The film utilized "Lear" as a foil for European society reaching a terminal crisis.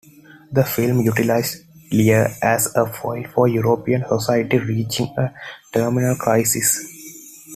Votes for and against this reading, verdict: 2, 0, accepted